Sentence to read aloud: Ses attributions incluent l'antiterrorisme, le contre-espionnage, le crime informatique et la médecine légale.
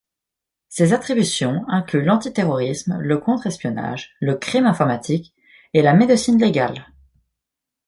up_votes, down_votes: 2, 0